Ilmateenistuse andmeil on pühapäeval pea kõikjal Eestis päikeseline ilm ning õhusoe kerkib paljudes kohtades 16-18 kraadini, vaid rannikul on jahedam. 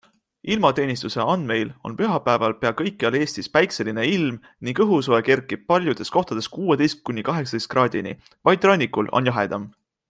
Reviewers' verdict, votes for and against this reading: rejected, 0, 2